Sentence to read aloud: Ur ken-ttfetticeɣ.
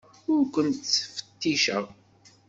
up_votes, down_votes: 2, 0